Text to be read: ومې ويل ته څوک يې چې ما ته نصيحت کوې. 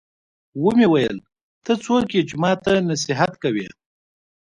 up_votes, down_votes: 2, 0